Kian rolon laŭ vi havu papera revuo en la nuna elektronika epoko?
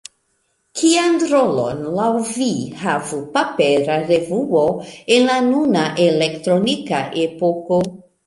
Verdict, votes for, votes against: accepted, 2, 0